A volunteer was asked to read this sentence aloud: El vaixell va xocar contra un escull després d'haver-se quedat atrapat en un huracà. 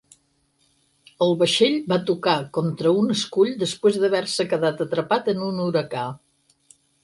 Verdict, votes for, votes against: rejected, 0, 4